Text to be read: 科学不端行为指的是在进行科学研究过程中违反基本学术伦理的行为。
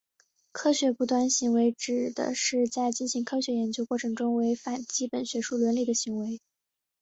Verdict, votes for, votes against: accepted, 3, 0